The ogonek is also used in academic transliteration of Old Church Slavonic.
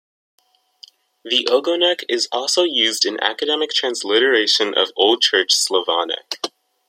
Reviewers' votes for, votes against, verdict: 1, 2, rejected